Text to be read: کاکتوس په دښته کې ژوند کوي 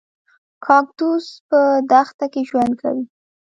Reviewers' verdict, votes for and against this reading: rejected, 1, 2